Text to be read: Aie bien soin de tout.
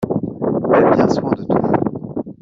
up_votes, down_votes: 1, 2